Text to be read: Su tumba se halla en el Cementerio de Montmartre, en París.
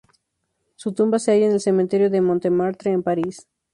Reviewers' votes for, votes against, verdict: 2, 0, accepted